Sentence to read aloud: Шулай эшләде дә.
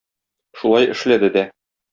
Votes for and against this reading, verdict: 2, 0, accepted